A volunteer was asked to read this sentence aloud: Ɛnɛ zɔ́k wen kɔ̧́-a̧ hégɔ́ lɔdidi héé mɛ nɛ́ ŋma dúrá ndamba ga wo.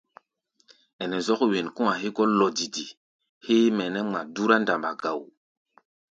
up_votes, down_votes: 2, 0